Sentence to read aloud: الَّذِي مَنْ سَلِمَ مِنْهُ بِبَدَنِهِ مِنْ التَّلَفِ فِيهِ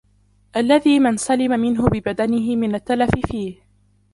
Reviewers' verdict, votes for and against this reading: accepted, 2, 1